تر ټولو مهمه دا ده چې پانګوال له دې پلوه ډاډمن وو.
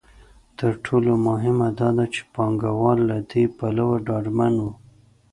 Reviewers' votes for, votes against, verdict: 2, 0, accepted